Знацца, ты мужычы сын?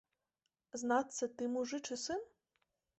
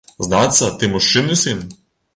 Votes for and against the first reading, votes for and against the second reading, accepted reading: 2, 0, 1, 2, first